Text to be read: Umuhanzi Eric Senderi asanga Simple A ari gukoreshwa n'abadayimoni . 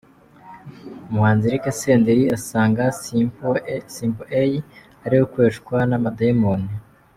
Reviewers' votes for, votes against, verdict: 1, 2, rejected